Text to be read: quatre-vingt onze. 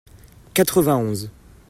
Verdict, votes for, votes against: accepted, 2, 0